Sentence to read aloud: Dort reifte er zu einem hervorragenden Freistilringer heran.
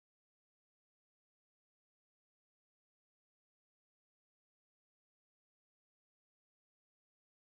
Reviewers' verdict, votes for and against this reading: rejected, 0, 2